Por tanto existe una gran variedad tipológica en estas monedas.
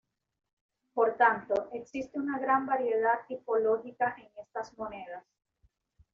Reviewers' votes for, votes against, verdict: 2, 0, accepted